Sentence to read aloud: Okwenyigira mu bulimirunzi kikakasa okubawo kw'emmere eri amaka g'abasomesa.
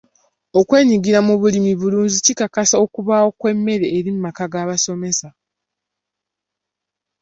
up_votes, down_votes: 1, 2